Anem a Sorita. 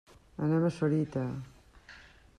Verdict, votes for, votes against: accepted, 3, 1